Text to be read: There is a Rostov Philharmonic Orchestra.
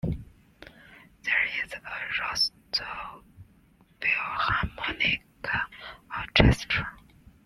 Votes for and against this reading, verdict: 1, 2, rejected